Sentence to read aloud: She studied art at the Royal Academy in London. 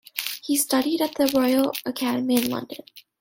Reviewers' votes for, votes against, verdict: 1, 2, rejected